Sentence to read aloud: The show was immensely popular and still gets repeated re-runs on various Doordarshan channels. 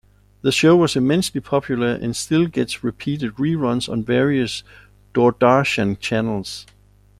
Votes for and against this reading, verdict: 2, 0, accepted